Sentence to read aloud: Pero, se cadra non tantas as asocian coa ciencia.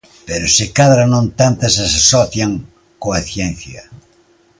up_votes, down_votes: 2, 0